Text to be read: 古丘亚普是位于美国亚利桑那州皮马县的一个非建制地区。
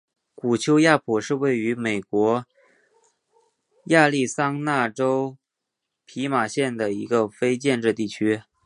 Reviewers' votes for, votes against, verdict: 2, 0, accepted